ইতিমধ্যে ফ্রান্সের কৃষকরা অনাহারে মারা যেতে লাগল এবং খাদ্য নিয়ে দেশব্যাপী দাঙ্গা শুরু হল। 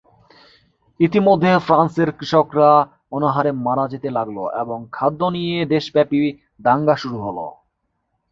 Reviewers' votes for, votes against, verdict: 2, 0, accepted